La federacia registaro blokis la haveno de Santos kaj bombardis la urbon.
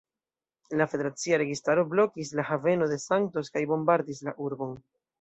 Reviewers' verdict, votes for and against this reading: accepted, 2, 0